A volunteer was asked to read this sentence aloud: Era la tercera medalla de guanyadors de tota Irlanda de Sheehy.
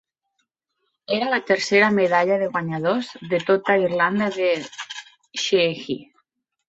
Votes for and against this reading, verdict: 1, 2, rejected